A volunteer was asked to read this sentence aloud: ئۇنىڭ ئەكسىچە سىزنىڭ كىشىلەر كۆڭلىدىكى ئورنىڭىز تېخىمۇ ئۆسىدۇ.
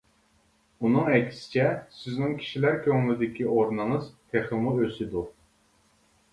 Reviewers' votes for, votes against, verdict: 2, 0, accepted